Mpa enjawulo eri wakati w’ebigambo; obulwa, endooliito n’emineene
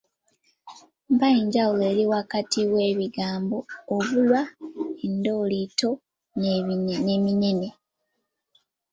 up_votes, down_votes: 0, 2